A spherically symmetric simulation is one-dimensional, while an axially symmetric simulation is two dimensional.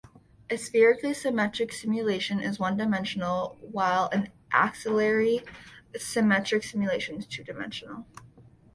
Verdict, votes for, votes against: rejected, 1, 2